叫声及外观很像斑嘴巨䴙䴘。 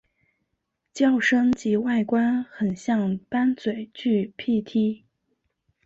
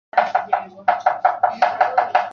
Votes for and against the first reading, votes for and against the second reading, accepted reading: 2, 0, 0, 2, first